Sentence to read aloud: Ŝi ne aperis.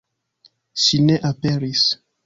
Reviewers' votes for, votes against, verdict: 2, 0, accepted